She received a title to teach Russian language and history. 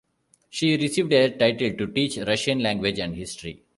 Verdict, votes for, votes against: accepted, 2, 0